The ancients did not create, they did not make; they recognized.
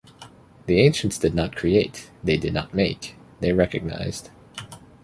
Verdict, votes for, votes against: accepted, 3, 0